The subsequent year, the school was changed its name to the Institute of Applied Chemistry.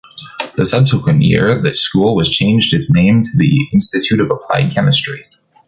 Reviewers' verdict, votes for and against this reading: accepted, 2, 0